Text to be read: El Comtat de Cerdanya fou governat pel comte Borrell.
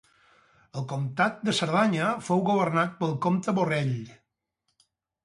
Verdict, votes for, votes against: accepted, 4, 0